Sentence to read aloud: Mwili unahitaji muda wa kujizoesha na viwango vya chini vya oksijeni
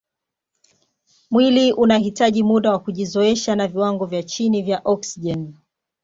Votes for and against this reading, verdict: 2, 1, accepted